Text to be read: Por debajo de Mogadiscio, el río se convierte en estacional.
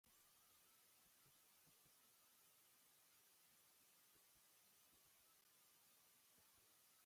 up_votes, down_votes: 0, 2